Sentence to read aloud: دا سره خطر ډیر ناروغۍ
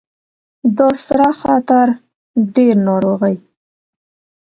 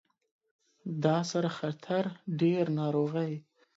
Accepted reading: second